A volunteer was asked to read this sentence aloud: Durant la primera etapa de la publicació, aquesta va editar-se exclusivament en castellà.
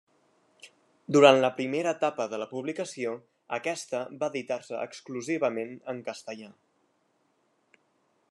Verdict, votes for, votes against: accepted, 3, 0